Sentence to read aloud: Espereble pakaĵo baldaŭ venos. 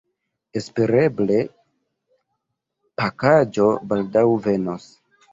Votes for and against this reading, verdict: 2, 0, accepted